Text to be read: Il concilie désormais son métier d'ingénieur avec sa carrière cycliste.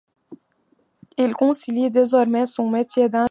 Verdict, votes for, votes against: rejected, 1, 2